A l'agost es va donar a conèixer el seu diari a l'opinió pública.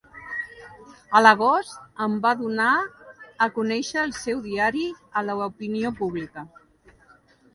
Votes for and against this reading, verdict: 0, 2, rejected